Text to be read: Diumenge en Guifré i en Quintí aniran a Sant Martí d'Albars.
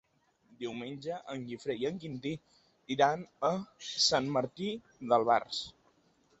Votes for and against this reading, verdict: 0, 2, rejected